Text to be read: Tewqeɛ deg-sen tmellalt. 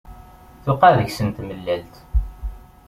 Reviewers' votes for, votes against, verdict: 2, 0, accepted